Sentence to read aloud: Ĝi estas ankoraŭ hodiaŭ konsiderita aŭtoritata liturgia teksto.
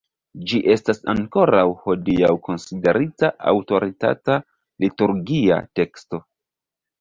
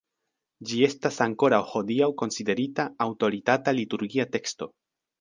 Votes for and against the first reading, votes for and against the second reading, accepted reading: 0, 2, 2, 0, second